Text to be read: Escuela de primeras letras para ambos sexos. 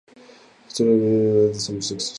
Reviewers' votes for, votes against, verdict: 0, 4, rejected